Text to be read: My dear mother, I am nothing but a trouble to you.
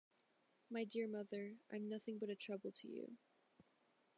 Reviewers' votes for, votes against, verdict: 1, 2, rejected